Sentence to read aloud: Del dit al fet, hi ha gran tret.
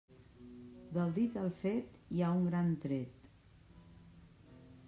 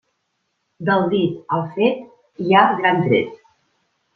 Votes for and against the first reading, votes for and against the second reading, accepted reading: 0, 2, 2, 0, second